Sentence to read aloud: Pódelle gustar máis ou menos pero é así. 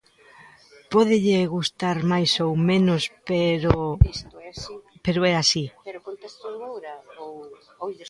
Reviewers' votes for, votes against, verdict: 0, 3, rejected